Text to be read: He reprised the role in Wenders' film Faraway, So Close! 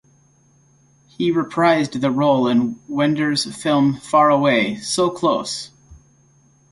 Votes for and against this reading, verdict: 2, 0, accepted